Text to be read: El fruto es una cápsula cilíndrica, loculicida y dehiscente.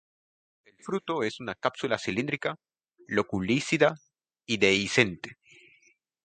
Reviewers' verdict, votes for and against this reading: accepted, 2, 0